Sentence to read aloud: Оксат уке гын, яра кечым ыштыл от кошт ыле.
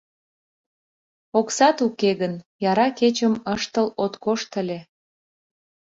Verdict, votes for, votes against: accepted, 2, 0